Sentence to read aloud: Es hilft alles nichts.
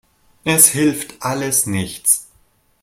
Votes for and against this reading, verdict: 2, 0, accepted